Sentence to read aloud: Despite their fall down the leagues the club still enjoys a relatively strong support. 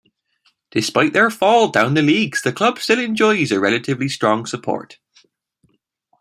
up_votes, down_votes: 2, 0